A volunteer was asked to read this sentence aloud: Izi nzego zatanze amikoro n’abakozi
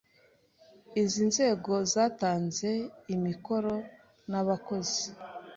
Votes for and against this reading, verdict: 1, 2, rejected